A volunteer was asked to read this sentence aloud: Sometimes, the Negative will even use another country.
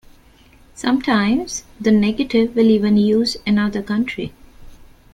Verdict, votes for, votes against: accepted, 2, 0